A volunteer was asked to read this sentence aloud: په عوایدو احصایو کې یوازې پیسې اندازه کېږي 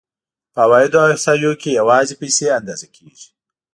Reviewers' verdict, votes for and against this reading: accepted, 2, 0